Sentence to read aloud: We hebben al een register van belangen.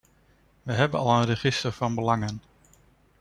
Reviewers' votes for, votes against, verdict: 2, 0, accepted